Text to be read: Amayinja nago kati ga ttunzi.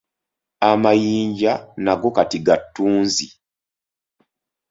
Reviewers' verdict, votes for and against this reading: accepted, 2, 0